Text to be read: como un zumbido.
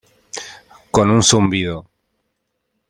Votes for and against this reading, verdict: 0, 2, rejected